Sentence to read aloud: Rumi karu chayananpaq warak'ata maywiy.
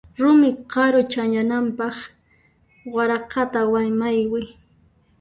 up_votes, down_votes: 0, 2